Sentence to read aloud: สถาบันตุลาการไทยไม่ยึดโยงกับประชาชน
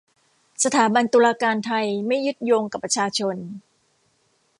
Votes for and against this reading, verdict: 2, 0, accepted